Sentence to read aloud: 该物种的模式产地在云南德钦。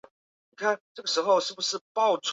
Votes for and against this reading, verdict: 0, 2, rejected